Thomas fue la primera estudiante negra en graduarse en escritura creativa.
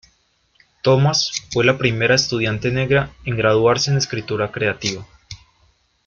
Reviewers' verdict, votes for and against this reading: accepted, 2, 0